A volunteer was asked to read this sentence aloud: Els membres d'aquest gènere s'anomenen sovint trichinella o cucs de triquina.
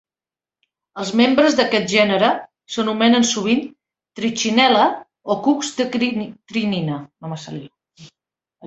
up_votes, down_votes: 1, 2